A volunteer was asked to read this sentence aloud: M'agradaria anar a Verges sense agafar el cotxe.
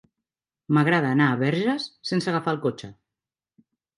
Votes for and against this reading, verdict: 0, 2, rejected